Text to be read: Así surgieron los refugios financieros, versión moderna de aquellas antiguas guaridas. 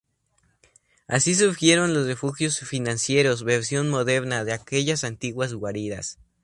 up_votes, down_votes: 2, 0